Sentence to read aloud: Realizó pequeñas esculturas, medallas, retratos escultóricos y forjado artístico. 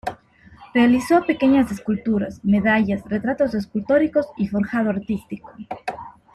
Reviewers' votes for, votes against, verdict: 2, 0, accepted